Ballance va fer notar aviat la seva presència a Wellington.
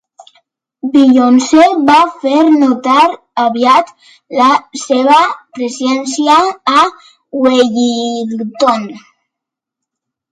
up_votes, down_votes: 0, 2